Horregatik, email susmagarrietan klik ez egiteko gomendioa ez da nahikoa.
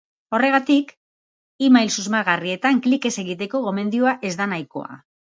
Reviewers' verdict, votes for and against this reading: accepted, 2, 0